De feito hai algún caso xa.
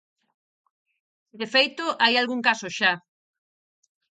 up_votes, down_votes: 4, 0